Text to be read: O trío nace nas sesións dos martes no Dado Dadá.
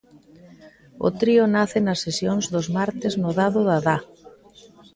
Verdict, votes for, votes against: accepted, 2, 0